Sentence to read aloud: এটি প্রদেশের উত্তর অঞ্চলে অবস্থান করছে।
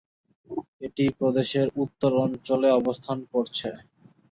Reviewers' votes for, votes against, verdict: 2, 0, accepted